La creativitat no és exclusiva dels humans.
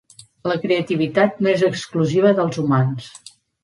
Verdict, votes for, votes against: accepted, 2, 0